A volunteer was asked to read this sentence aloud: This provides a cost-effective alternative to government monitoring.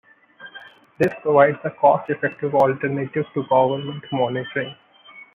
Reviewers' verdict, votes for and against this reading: accepted, 2, 0